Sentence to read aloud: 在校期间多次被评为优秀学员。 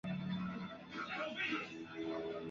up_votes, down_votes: 0, 2